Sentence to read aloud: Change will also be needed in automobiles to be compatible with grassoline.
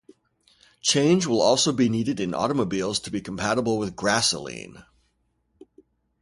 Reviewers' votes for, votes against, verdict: 2, 0, accepted